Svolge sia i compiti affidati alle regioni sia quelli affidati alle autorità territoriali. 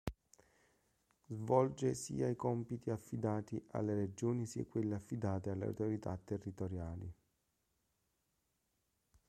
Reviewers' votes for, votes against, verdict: 1, 2, rejected